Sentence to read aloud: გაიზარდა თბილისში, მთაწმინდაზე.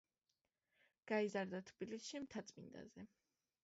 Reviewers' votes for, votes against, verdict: 2, 1, accepted